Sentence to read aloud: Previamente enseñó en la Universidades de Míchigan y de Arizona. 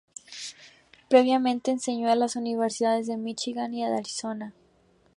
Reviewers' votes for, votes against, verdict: 0, 2, rejected